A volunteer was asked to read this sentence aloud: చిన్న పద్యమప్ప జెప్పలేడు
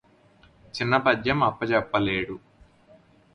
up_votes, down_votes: 4, 0